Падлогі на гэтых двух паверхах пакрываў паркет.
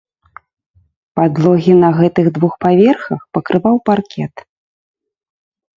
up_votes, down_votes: 2, 0